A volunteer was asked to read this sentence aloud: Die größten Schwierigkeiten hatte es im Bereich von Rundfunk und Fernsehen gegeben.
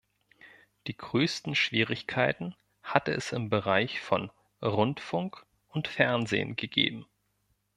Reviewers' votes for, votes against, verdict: 2, 0, accepted